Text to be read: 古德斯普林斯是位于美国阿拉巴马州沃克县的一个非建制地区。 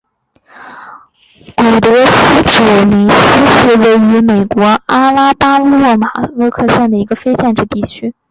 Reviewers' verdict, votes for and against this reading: rejected, 2, 5